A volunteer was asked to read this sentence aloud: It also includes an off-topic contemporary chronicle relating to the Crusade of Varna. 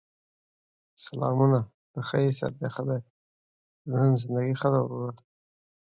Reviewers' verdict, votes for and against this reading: rejected, 0, 2